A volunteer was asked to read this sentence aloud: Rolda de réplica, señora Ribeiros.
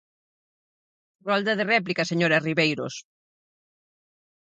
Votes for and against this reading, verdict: 4, 0, accepted